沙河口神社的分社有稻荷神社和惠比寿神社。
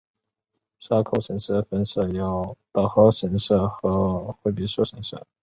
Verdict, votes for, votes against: accepted, 2, 0